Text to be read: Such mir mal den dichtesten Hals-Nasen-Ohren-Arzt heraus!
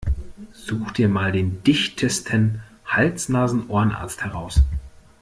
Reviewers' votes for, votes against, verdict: 0, 2, rejected